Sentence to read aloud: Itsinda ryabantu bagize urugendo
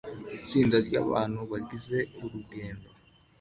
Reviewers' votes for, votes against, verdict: 2, 0, accepted